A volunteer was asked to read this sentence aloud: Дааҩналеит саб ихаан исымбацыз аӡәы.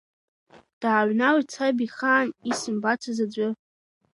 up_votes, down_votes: 2, 0